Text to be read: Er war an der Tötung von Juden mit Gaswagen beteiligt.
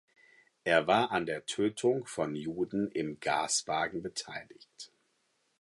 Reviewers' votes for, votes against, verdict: 2, 4, rejected